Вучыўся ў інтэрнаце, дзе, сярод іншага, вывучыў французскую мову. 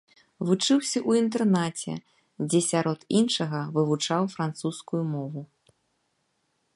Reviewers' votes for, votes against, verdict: 0, 2, rejected